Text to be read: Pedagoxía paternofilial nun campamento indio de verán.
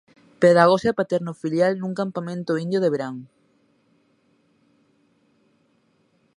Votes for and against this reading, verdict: 0, 2, rejected